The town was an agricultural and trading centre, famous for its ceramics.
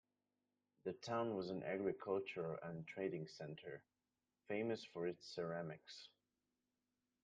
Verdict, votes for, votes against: rejected, 1, 2